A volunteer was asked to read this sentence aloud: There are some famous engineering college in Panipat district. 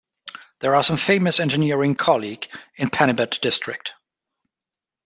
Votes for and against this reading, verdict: 0, 2, rejected